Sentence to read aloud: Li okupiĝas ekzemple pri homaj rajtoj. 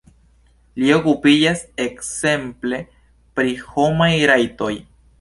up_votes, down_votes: 2, 0